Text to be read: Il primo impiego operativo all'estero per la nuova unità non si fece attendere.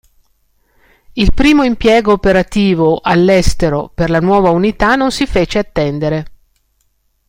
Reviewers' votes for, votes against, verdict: 2, 0, accepted